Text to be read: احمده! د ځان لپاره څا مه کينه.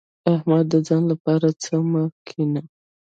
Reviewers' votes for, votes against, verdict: 1, 2, rejected